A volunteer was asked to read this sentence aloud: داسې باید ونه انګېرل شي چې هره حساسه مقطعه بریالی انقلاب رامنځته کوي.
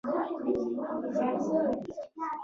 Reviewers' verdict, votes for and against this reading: rejected, 0, 2